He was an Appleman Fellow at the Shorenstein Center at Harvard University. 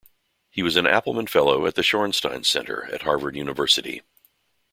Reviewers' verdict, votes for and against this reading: accepted, 2, 0